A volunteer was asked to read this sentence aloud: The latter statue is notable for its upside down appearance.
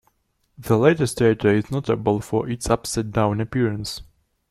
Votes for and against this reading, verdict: 1, 2, rejected